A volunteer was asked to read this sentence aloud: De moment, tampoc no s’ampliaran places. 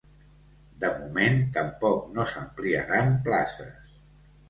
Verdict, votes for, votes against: accepted, 2, 0